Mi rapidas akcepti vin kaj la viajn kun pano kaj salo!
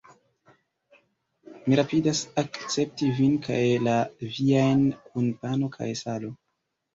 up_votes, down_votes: 2, 0